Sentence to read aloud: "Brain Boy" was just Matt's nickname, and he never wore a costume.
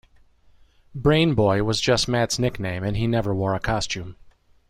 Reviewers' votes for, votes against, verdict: 2, 0, accepted